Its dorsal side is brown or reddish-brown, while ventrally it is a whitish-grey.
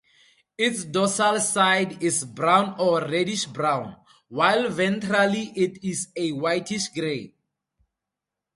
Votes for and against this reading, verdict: 2, 0, accepted